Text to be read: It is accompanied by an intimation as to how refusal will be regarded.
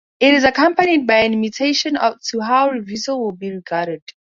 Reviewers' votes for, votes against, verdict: 0, 2, rejected